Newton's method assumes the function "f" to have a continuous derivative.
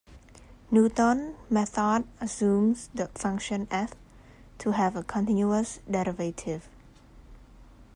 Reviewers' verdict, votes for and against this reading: rejected, 0, 2